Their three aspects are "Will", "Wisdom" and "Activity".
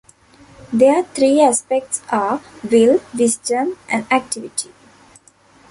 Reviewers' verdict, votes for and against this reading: accepted, 2, 0